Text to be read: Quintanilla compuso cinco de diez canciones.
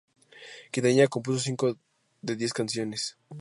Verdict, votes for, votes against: rejected, 0, 2